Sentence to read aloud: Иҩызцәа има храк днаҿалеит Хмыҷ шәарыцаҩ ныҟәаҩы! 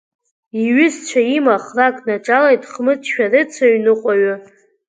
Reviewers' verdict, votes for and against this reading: accepted, 2, 0